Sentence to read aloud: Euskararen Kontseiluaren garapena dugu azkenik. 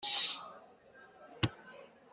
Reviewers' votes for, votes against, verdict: 0, 2, rejected